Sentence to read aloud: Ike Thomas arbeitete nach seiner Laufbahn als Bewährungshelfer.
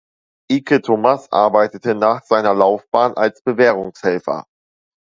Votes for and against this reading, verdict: 2, 0, accepted